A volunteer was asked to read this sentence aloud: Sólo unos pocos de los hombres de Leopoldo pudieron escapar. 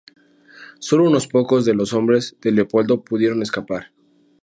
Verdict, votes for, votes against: accepted, 2, 0